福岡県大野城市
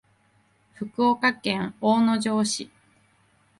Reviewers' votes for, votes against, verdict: 2, 0, accepted